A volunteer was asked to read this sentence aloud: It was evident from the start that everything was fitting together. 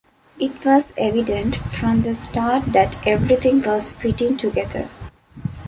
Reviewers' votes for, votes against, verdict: 2, 0, accepted